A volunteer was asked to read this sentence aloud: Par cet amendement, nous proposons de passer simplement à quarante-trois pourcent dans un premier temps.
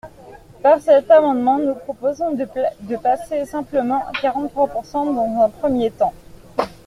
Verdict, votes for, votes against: rejected, 1, 2